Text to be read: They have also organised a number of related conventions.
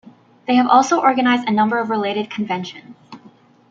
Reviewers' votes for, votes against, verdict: 0, 2, rejected